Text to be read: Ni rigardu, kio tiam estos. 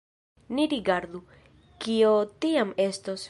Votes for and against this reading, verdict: 2, 0, accepted